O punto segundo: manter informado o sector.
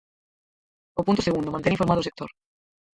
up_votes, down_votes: 0, 4